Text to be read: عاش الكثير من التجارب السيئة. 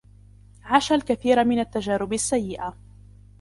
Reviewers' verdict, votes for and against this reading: accepted, 2, 0